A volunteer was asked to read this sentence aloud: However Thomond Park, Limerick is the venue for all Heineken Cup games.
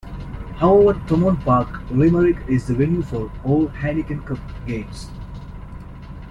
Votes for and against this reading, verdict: 2, 0, accepted